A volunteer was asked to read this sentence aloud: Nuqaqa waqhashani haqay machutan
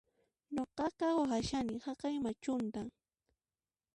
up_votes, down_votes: 1, 2